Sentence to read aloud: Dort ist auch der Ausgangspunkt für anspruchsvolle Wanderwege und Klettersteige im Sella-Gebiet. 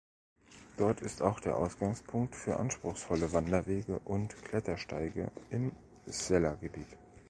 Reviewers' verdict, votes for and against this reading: accepted, 2, 0